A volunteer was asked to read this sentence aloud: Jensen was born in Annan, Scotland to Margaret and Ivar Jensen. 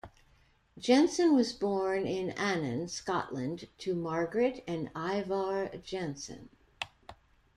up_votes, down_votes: 2, 0